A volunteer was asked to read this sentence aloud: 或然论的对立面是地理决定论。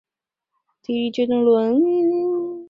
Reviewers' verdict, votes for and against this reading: rejected, 0, 3